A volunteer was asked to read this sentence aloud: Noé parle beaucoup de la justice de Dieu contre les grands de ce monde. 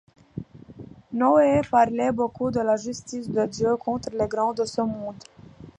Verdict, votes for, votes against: accepted, 2, 0